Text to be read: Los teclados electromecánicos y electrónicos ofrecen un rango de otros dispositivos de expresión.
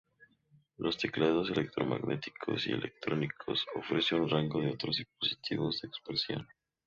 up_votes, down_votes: 2, 0